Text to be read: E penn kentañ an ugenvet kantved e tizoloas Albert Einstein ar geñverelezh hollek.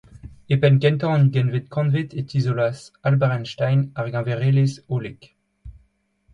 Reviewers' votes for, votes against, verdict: 2, 0, accepted